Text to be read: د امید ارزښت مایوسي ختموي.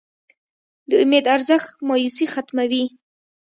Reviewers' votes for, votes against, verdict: 2, 0, accepted